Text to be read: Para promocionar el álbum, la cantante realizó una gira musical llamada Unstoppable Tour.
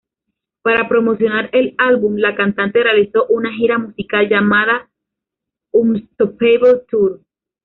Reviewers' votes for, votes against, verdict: 2, 0, accepted